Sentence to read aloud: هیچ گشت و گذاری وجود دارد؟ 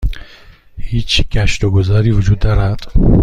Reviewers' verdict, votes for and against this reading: accepted, 2, 0